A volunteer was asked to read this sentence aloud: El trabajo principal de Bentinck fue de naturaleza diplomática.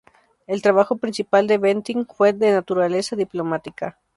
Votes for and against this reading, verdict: 2, 0, accepted